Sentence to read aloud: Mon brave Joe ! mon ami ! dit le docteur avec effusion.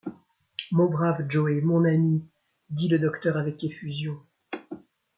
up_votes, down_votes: 1, 2